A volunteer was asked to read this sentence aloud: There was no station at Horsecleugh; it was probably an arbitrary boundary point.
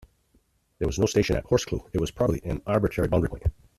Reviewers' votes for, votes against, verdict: 0, 2, rejected